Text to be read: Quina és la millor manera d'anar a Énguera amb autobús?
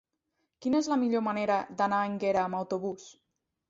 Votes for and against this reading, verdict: 2, 0, accepted